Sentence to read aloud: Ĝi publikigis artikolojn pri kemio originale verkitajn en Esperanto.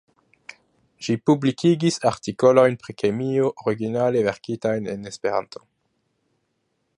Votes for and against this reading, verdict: 2, 0, accepted